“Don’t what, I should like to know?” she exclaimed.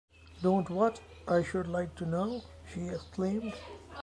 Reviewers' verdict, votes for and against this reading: accepted, 2, 1